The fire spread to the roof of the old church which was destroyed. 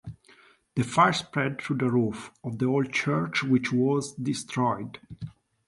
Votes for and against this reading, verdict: 2, 1, accepted